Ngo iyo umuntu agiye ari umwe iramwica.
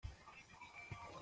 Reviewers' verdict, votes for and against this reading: rejected, 0, 2